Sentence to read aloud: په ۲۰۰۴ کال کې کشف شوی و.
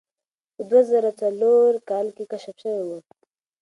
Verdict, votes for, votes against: rejected, 0, 2